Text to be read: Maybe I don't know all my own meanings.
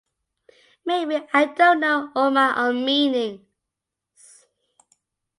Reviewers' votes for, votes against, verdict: 2, 0, accepted